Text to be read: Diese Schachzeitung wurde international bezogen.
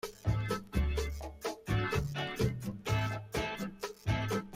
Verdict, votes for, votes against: rejected, 0, 2